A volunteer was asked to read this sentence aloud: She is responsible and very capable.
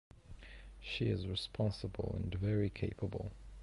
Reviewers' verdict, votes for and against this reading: accepted, 2, 0